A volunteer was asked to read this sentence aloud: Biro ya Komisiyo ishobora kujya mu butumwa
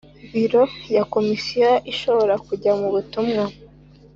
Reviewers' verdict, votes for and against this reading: accepted, 2, 0